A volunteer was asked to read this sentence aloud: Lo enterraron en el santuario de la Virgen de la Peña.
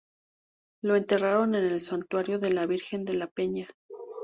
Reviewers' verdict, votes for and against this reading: accepted, 4, 0